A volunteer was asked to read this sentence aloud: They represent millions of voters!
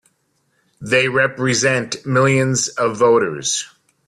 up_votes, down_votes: 2, 1